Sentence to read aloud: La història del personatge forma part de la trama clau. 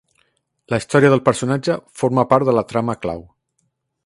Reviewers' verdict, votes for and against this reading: accepted, 2, 0